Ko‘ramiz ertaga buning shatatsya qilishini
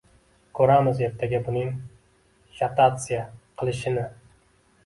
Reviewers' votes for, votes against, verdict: 1, 2, rejected